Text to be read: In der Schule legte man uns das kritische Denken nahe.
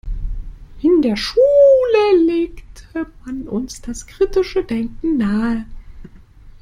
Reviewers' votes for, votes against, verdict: 0, 2, rejected